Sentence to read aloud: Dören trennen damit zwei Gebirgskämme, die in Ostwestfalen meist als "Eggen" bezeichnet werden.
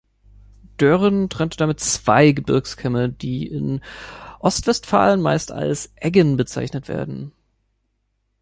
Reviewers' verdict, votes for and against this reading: rejected, 1, 2